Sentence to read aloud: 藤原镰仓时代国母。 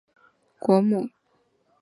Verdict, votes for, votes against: rejected, 0, 2